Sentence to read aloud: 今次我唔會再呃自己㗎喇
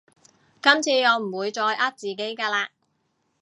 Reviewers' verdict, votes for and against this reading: accepted, 2, 0